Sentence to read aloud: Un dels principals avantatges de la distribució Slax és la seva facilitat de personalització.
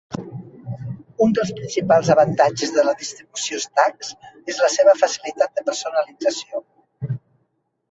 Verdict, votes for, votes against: rejected, 0, 2